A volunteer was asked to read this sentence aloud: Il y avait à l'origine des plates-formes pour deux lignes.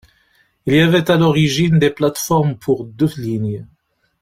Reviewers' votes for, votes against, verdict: 0, 2, rejected